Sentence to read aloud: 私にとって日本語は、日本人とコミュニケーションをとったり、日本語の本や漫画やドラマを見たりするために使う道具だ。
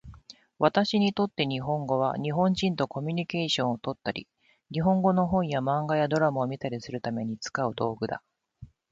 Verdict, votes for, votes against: rejected, 1, 2